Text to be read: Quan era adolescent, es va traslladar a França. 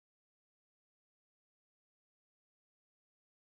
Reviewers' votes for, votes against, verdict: 0, 2, rejected